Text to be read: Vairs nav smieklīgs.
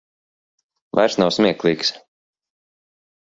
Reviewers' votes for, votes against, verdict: 2, 0, accepted